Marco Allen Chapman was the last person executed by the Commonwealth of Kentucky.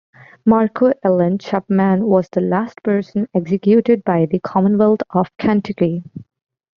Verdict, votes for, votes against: accepted, 2, 1